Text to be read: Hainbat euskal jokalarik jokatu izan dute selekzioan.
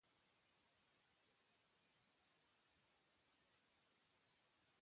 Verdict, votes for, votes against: rejected, 0, 2